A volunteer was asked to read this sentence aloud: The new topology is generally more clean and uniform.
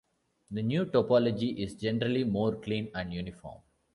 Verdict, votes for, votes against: accepted, 2, 0